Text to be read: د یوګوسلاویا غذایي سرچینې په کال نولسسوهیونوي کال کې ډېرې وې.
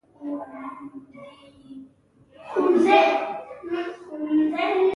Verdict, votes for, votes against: rejected, 0, 2